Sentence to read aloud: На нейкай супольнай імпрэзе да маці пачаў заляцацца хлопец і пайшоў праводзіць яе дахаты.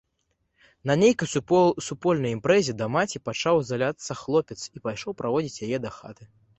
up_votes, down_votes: 0, 2